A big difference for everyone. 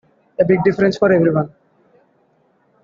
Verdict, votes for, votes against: accepted, 2, 1